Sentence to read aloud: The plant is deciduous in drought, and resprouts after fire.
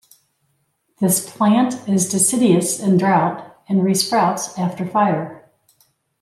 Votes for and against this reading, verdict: 1, 2, rejected